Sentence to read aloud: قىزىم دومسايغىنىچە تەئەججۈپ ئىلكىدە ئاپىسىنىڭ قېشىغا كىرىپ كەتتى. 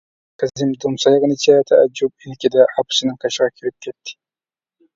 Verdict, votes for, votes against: rejected, 1, 2